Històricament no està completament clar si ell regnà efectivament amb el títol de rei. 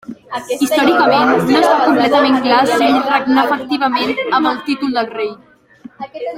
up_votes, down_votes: 1, 2